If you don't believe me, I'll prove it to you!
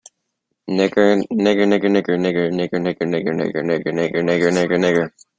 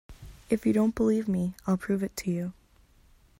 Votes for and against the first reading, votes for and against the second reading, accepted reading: 0, 2, 2, 0, second